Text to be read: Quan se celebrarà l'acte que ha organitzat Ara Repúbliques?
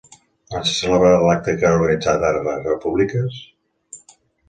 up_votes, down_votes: 1, 2